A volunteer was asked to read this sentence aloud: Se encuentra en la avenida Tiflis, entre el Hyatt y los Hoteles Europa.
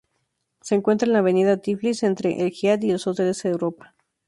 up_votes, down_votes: 2, 0